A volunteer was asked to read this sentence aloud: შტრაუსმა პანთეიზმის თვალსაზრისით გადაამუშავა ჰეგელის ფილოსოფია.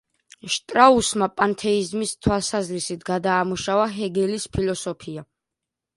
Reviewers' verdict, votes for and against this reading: accepted, 2, 0